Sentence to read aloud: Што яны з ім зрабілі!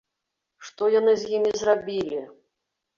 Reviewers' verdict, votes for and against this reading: rejected, 1, 2